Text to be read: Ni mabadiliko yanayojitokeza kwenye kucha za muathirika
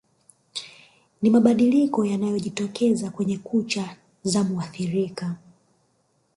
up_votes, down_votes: 1, 2